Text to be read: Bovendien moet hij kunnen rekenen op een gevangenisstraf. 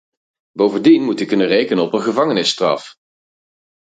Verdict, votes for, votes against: rejected, 0, 4